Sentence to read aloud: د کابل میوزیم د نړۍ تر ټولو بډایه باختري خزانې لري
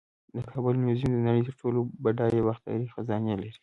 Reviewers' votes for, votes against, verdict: 2, 0, accepted